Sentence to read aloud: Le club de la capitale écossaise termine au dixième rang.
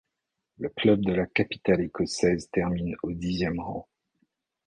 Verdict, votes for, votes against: rejected, 0, 2